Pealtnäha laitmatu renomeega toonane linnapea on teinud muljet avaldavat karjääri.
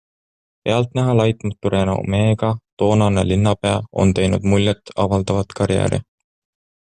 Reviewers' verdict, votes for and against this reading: accepted, 2, 0